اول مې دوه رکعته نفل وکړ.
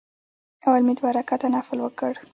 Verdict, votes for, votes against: accepted, 2, 1